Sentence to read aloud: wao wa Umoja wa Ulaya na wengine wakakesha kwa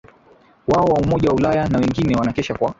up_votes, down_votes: 1, 2